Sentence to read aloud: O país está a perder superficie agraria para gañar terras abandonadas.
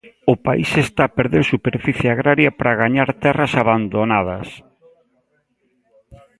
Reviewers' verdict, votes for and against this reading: rejected, 1, 2